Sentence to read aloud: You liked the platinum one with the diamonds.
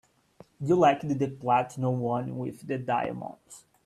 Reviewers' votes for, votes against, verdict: 2, 0, accepted